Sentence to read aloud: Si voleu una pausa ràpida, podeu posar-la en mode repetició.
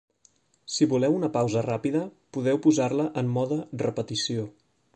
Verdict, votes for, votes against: accepted, 3, 1